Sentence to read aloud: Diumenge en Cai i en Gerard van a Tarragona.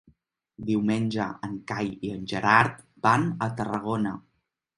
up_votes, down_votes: 3, 0